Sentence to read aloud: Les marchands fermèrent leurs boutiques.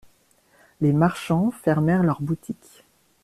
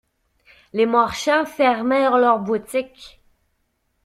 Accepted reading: first